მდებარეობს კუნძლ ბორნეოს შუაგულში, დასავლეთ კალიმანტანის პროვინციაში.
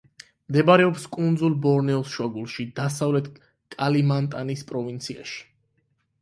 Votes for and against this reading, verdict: 8, 4, accepted